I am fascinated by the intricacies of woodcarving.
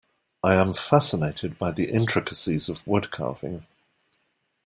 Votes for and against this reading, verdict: 2, 0, accepted